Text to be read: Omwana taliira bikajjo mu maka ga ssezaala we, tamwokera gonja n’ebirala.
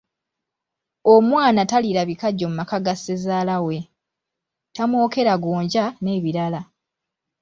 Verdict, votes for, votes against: accepted, 2, 0